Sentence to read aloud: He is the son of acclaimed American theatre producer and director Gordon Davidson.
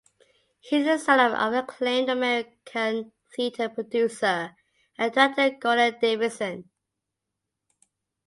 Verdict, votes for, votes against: rejected, 0, 2